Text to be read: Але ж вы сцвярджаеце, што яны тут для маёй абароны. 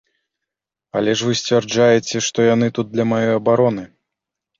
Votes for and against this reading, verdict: 3, 0, accepted